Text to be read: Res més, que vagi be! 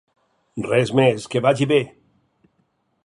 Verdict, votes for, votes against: accepted, 4, 0